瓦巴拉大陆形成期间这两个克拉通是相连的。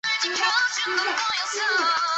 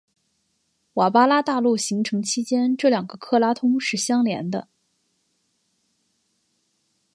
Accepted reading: second